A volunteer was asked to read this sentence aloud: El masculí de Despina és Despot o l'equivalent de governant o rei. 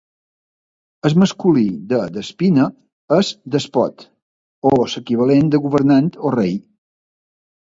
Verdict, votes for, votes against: rejected, 1, 3